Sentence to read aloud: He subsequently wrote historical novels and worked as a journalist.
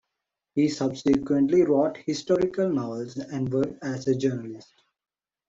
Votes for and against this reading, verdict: 2, 1, accepted